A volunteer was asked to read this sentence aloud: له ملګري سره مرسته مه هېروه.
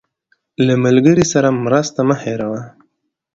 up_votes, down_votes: 2, 0